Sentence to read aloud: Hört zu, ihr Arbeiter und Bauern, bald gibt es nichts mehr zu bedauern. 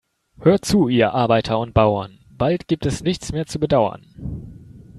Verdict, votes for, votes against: accepted, 2, 0